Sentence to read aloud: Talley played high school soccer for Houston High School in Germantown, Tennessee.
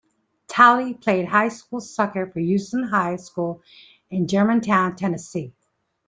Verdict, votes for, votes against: rejected, 1, 2